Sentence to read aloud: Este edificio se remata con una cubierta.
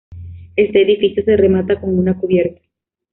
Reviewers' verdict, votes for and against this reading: accepted, 2, 0